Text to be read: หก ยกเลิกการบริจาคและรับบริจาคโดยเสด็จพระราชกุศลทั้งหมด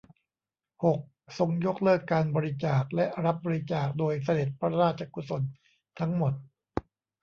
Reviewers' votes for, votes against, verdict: 0, 2, rejected